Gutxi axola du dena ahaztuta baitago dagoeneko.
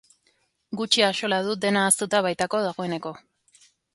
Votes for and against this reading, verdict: 1, 2, rejected